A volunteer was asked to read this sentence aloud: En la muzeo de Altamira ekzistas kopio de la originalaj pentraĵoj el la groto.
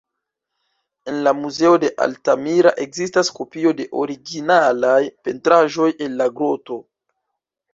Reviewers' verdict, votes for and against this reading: rejected, 1, 2